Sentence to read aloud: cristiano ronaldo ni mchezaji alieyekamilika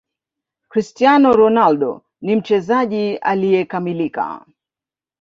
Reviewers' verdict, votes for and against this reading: rejected, 1, 2